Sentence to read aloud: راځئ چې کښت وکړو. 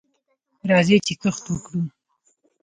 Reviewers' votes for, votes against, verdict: 2, 0, accepted